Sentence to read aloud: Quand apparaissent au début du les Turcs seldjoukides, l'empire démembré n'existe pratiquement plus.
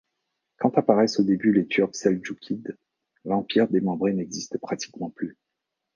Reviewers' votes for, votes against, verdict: 1, 2, rejected